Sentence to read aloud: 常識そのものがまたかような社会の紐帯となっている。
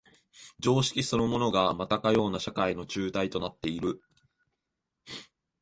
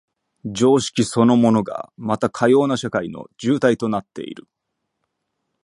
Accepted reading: first